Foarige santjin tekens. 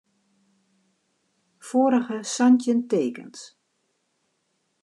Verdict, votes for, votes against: accepted, 2, 1